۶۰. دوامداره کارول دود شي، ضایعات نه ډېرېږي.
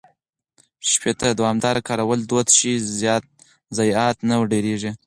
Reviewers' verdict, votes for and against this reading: rejected, 0, 2